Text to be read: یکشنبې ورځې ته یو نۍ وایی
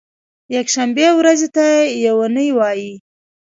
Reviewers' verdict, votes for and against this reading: accepted, 2, 0